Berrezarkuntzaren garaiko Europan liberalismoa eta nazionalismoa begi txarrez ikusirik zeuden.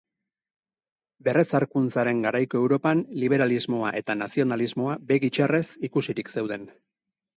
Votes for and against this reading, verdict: 6, 2, accepted